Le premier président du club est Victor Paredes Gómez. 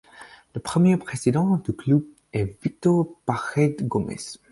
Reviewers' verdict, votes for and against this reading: accepted, 4, 0